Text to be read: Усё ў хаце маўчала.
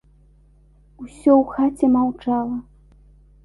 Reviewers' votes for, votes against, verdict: 2, 0, accepted